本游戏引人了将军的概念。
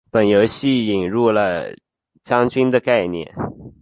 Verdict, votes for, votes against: accepted, 4, 1